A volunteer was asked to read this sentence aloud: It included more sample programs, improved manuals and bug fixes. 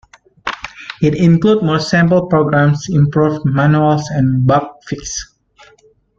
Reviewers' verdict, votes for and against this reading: rejected, 1, 2